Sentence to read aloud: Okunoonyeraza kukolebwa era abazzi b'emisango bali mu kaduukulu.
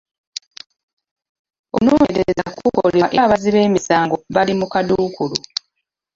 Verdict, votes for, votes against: rejected, 0, 2